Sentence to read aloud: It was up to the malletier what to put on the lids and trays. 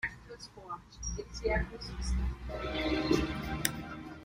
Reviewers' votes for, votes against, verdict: 0, 2, rejected